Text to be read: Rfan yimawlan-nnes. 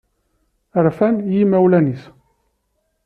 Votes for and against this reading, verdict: 2, 0, accepted